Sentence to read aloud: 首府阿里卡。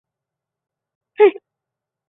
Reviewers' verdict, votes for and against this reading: rejected, 0, 3